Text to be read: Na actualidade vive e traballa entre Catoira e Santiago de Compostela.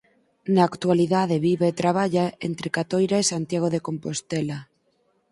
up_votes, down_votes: 6, 0